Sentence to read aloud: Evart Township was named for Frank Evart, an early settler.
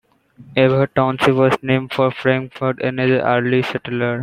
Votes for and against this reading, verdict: 0, 2, rejected